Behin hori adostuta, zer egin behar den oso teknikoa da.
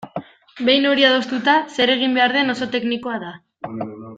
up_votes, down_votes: 2, 0